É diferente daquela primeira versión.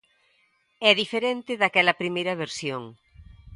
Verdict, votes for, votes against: accepted, 2, 0